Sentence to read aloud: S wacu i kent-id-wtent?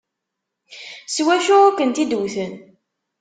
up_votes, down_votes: 1, 2